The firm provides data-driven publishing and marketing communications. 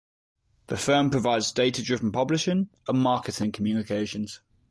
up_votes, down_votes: 2, 0